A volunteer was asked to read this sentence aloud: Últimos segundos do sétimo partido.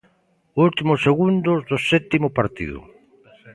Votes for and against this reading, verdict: 2, 0, accepted